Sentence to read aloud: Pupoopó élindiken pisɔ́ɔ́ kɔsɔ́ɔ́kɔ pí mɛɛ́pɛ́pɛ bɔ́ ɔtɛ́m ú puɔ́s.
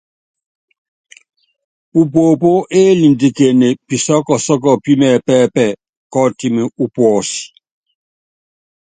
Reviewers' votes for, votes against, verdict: 2, 0, accepted